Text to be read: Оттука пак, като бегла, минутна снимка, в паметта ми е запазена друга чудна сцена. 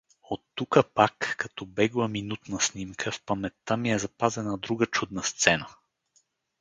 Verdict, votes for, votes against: accepted, 4, 0